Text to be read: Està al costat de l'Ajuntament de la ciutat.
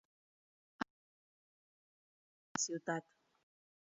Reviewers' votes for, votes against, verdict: 0, 2, rejected